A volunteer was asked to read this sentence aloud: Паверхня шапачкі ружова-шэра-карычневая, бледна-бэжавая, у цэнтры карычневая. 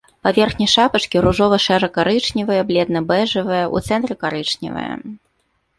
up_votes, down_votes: 2, 0